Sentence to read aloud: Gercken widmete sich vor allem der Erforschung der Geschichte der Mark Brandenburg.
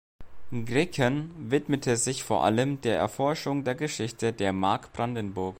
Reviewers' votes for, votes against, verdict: 0, 2, rejected